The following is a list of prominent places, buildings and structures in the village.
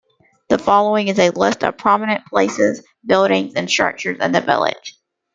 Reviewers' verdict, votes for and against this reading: rejected, 1, 2